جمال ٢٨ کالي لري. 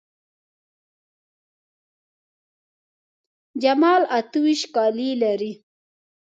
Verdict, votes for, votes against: rejected, 0, 2